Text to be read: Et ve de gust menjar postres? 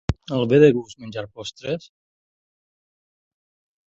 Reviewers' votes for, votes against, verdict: 0, 4, rejected